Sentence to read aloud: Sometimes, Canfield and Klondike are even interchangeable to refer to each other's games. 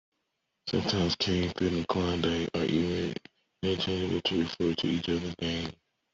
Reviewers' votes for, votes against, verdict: 0, 2, rejected